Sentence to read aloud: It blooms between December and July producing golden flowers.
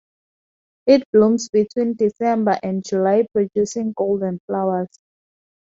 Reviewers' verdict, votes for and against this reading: accepted, 4, 0